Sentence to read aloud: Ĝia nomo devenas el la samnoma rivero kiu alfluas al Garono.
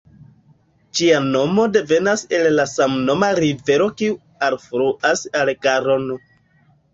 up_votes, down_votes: 1, 2